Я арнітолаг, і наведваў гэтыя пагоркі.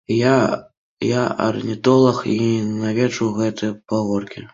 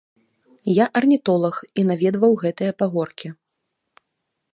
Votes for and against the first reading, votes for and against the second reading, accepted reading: 0, 2, 3, 0, second